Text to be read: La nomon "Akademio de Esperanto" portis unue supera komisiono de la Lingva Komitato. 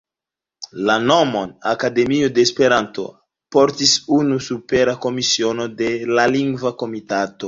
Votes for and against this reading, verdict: 1, 2, rejected